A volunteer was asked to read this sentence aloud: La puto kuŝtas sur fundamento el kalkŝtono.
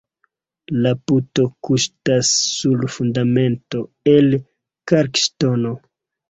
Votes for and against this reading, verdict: 1, 2, rejected